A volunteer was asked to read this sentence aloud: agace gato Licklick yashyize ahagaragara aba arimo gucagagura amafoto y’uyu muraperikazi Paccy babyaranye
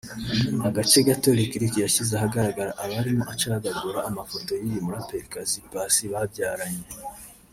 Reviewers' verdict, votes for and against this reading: rejected, 1, 2